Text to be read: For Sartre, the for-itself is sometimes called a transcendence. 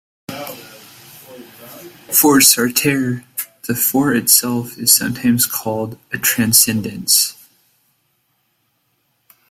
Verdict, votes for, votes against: rejected, 0, 2